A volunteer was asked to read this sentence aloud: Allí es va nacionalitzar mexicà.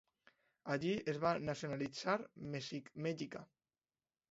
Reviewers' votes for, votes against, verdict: 0, 2, rejected